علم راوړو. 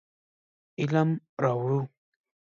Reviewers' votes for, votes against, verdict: 2, 1, accepted